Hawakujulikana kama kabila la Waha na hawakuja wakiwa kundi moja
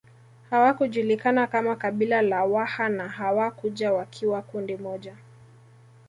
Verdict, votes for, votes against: accepted, 2, 1